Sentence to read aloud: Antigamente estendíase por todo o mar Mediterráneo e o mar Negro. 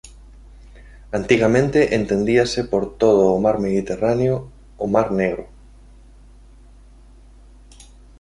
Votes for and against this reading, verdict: 0, 2, rejected